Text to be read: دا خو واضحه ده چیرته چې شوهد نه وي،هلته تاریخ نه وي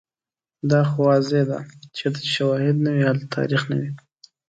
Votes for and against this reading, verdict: 2, 0, accepted